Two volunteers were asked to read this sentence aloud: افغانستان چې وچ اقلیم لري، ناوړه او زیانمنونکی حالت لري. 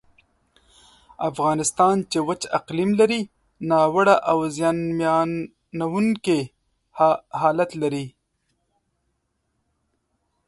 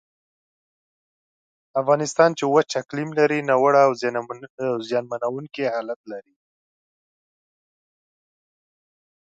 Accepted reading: second